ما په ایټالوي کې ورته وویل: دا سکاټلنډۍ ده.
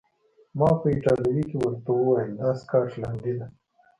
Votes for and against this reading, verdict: 2, 0, accepted